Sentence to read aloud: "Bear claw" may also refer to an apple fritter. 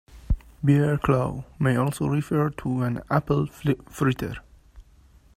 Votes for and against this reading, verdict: 1, 2, rejected